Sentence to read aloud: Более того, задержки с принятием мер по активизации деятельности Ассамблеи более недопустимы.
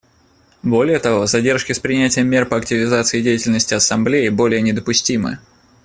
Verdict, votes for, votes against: accepted, 2, 0